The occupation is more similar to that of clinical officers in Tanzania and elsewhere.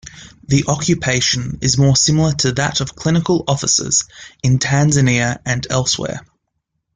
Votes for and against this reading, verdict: 1, 2, rejected